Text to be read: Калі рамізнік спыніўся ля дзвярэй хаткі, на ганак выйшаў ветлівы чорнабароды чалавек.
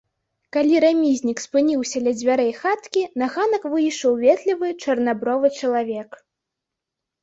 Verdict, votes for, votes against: rejected, 0, 2